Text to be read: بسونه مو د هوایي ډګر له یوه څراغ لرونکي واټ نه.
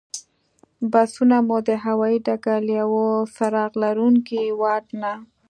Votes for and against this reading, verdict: 2, 0, accepted